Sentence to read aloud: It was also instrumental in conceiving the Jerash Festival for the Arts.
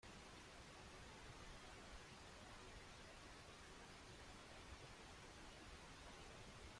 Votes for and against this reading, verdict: 0, 2, rejected